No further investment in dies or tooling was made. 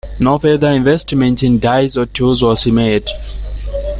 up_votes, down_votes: 0, 2